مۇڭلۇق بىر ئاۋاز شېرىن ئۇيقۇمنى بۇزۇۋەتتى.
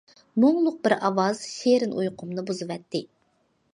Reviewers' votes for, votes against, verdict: 2, 0, accepted